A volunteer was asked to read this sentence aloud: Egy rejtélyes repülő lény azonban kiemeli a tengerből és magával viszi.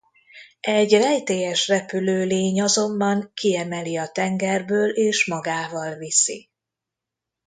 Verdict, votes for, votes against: accepted, 2, 0